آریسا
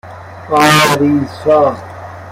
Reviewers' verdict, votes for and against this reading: rejected, 1, 2